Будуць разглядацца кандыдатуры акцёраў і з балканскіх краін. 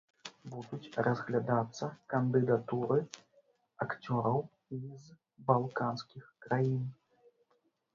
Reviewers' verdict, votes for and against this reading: rejected, 1, 2